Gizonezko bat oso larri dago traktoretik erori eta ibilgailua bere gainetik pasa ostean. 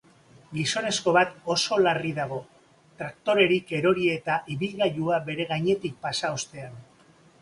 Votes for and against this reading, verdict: 0, 2, rejected